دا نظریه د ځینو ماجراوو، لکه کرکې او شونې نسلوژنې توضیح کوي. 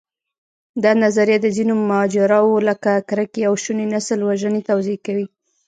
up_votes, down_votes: 2, 0